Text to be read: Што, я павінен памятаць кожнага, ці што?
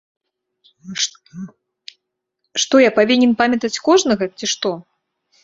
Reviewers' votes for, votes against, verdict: 0, 2, rejected